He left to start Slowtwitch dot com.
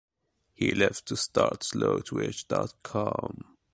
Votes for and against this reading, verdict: 2, 1, accepted